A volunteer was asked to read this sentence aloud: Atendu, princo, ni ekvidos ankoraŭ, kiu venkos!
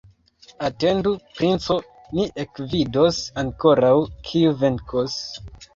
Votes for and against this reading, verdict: 2, 1, accepted